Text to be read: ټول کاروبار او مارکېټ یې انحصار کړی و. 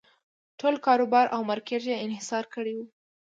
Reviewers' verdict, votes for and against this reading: accepted, 3, 0